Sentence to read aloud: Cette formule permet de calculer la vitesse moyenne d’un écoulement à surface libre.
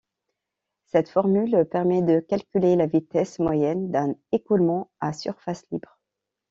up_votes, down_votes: 2, 0